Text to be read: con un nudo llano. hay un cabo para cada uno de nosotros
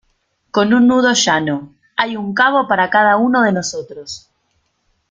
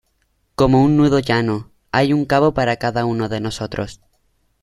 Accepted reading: first